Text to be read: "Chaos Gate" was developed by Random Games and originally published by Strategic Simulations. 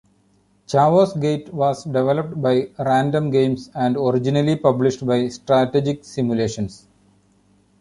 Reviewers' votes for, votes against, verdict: 0, 2, rejected